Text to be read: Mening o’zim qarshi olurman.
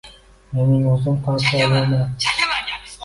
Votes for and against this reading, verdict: 0, 2, rejected